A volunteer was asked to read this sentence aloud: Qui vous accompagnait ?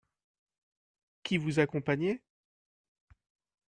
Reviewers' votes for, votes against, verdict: 2, 0, accepted